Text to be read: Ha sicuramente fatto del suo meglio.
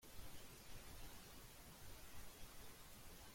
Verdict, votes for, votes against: rejected, 0, 3